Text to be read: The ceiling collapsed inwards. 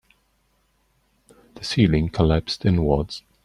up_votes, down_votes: 2, 0